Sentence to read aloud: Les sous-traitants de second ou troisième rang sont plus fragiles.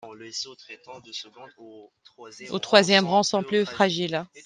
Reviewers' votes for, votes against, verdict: 1, 2, rejected